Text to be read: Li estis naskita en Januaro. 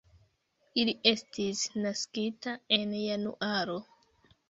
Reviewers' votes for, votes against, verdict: 1, 2, rejected